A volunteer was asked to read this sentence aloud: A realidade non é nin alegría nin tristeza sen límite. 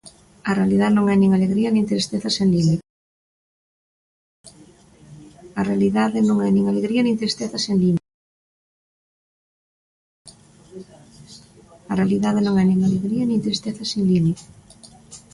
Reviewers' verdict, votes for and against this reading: rejected, 0, 3